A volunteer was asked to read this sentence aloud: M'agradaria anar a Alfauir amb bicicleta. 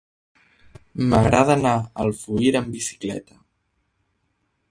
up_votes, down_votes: 1, 2